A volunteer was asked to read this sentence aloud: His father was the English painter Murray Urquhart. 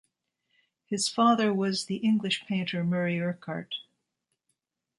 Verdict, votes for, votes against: accepted, 2, 0